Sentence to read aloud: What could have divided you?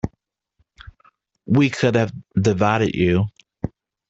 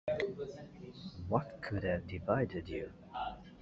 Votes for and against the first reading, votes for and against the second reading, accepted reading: 0, 2, 2, 1, second